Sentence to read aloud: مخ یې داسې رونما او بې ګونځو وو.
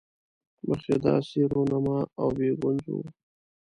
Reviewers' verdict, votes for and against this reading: rejected, 1, 2